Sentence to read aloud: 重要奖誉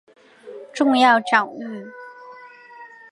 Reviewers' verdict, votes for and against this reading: accepted, 4, 1